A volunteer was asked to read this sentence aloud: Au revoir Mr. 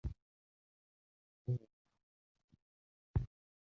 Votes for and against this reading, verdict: 0, 2, rejected